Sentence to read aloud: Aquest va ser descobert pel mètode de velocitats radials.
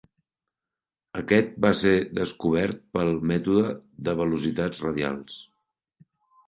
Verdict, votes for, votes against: accepted, 5, 0